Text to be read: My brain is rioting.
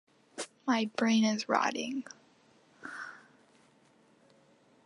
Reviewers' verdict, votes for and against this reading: rejected, 1, 2